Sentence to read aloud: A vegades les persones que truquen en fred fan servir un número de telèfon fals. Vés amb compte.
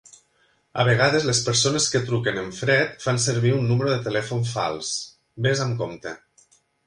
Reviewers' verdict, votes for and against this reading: accepted, 2, 0